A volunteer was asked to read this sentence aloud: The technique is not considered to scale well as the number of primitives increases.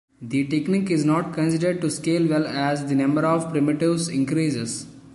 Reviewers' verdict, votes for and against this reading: rejected, 0, 2